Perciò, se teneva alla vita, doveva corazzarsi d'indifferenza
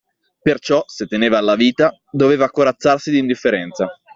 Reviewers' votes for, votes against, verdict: 2, 0, accepted